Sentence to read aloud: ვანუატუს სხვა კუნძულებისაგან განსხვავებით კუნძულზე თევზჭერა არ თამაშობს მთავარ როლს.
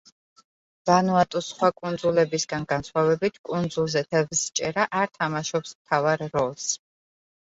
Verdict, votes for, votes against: rejected, 0, 2